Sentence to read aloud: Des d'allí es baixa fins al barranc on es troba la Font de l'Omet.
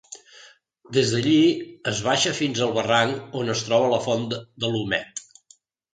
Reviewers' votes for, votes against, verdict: 0, 2, rejected